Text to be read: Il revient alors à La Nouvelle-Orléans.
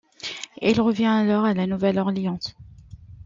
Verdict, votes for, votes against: accepted, 2, 1